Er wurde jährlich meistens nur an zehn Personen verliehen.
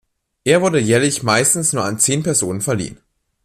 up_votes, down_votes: 2, 0